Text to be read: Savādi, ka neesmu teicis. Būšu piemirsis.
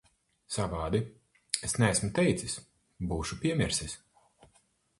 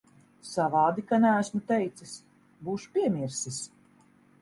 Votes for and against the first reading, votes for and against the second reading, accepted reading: 0, 4, 2, 0, second